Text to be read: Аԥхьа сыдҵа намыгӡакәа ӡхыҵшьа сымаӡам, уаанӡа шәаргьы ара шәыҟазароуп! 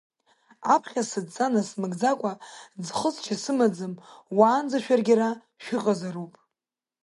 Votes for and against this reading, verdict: 2, 1, accepted